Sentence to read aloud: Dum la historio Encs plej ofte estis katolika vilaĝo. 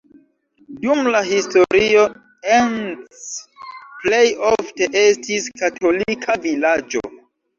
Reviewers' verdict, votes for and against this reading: rejected, 1, 2